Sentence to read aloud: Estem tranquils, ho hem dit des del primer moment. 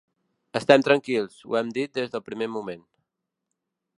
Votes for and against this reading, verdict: 3, 0, accepted